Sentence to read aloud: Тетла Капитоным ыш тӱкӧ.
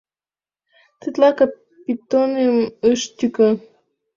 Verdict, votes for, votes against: rejected, 1, 2